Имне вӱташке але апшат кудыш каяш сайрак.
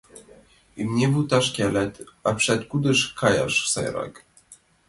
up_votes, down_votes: 2, 1